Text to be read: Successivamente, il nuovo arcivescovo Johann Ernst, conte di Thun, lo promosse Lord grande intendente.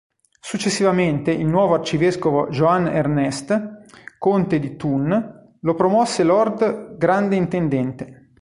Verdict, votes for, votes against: accepted, 2, 1